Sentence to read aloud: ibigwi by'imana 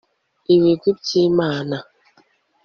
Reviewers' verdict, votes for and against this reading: accepted, 2, 0